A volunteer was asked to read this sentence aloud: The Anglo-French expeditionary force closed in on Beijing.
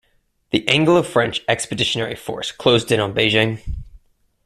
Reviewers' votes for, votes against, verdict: 2, 0, accepted